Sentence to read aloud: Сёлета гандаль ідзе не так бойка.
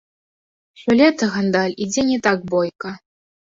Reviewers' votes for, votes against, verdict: 0, 2, rejected